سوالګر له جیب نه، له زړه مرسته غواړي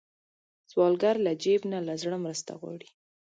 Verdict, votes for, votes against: accepted, 2, 0